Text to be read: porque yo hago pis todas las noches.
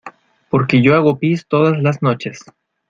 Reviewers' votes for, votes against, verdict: 2, 0, accepted